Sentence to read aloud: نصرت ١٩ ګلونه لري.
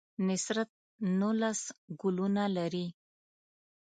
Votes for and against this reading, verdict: 0, 2, rejected